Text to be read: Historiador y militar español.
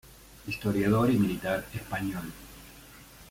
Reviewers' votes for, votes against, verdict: 2, 1, accepted